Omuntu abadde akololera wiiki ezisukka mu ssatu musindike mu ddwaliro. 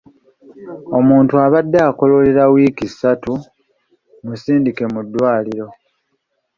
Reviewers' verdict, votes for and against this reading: rejected, 0, 2